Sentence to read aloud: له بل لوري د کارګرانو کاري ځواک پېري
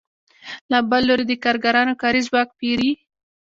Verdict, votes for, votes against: accepted, 2, 0